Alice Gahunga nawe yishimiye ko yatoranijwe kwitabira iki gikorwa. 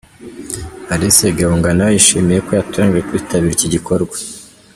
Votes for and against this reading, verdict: 2, 0, accepted